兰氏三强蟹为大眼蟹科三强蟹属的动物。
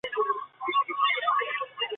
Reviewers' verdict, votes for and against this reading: accepted, 2, 0